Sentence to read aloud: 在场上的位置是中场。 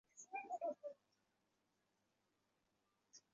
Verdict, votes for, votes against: rejected, 0, 2